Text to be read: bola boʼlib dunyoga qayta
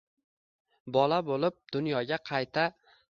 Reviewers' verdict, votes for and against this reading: accepted, 2, 0